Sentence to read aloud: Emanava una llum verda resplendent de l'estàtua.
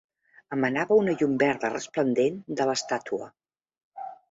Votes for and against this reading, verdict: 3, 0, accepted